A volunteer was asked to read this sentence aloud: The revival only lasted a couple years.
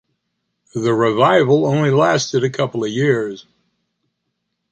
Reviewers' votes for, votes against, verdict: 2, 0, accepted